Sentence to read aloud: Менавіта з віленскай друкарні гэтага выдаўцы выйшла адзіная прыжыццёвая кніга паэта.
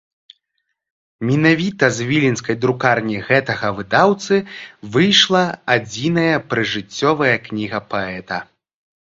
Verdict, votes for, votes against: rejected, 0, 3